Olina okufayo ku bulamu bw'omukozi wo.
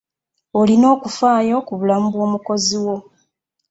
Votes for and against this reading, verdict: 2, 0, accepted